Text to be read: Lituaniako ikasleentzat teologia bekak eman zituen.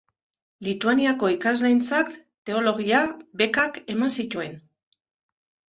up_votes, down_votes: 2, 0